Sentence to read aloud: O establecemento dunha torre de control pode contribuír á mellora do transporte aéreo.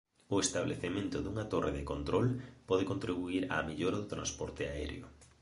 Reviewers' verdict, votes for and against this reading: accepted, 3, 1